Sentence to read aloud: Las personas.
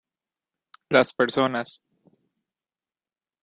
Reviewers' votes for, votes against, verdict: 2, 0, accepted